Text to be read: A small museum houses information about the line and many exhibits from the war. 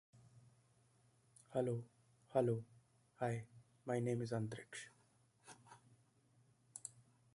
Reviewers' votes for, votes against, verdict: 0, 2, rejected